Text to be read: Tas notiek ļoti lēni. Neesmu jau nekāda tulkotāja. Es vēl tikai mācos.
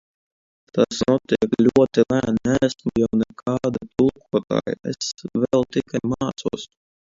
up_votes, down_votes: 0, 2